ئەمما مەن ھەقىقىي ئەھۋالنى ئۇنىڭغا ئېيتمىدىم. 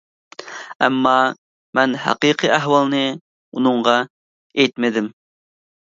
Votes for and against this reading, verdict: 2, 0, accepted